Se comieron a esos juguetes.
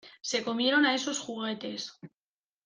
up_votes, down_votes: 2, 0